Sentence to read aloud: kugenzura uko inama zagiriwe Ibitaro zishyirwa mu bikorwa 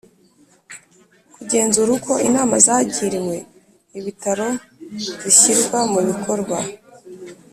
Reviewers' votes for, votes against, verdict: 2, 0, accepted